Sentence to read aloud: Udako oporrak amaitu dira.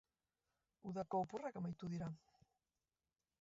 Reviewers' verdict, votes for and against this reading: rejected, 0, 3